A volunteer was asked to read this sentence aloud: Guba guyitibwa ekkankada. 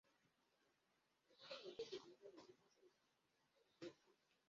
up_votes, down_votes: 0, 2